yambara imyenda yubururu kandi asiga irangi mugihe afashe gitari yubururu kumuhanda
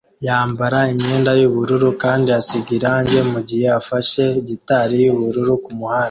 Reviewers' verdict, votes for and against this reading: accepted, 2, 1